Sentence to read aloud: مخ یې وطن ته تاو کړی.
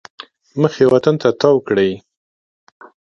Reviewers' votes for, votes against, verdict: 2, 1, accepted